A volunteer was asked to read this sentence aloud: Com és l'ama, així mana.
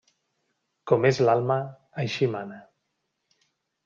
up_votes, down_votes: 0, 2